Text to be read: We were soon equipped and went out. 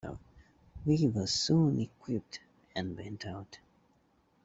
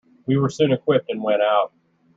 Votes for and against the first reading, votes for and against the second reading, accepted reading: 1, 2, 2, 0, second